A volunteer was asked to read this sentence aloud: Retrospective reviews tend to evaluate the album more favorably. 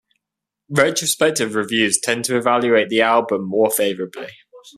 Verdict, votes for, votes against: accepted, 2, 0